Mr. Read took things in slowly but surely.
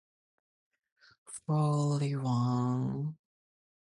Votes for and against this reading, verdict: 0, 2, rejected